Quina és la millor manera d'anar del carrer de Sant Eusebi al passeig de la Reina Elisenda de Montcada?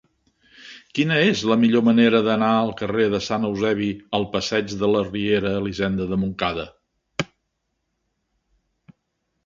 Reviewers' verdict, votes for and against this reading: rejected, 0, 2